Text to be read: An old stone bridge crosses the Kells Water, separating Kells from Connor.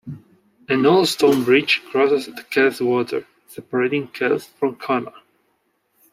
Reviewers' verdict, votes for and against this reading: accepted, 2, 1